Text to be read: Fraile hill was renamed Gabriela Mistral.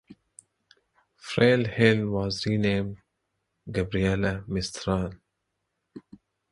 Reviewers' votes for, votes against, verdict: 1, 2, rejected